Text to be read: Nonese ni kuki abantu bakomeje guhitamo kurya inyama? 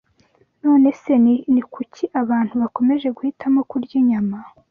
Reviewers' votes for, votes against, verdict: 1, 2, rejected